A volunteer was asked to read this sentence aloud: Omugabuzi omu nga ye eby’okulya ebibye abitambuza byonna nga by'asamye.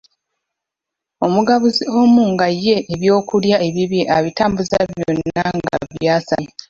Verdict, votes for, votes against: rejected, 0, 2